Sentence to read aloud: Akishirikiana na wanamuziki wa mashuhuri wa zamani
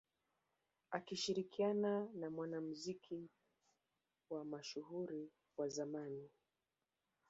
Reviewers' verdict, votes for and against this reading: rejected, 0, 2